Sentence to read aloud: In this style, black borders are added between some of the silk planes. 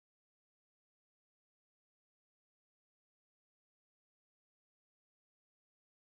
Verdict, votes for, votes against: rejected, 1, 2